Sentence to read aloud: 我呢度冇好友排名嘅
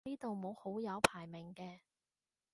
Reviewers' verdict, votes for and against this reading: rejected, 0, 2